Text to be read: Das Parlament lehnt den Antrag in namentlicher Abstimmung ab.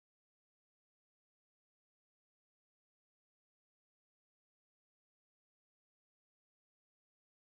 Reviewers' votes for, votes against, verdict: 0, 2, rejected